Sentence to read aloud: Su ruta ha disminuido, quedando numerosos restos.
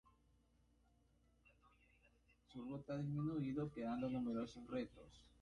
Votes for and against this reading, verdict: 0, 2, rejected